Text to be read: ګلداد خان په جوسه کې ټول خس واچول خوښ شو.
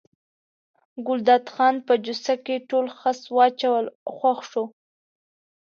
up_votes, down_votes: 2, 0